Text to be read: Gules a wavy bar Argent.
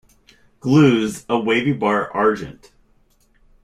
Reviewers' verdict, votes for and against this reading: rejected, 1, 2